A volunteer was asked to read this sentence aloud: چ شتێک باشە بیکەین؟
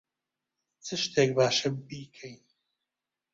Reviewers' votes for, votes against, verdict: 2, 1, accepted